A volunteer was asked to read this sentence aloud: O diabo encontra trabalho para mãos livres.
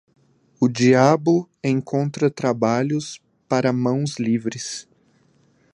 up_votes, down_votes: 0, 2